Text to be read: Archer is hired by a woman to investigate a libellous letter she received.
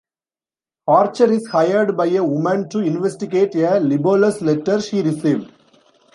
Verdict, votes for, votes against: rejected, 1, 2